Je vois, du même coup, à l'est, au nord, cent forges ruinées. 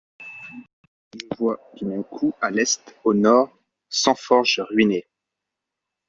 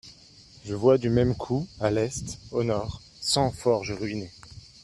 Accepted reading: second